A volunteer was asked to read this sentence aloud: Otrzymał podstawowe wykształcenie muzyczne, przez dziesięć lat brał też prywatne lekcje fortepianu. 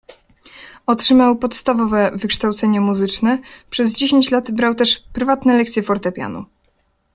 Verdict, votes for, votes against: accepted, 2, 0